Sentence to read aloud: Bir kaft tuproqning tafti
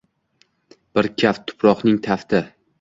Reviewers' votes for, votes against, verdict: 2, 1, accepted